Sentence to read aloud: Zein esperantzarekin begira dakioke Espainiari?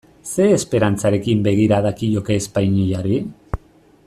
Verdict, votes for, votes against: accepted, 2, 1